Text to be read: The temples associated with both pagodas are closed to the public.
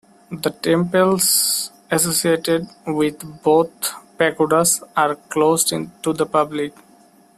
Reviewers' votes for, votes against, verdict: 0, 2, rejected